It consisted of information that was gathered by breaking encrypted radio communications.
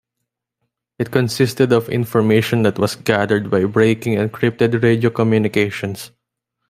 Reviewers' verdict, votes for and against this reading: rejected, 1, 2